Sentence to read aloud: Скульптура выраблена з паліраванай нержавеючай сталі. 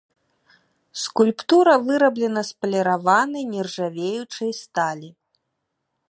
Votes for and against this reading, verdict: 2, 0, accepted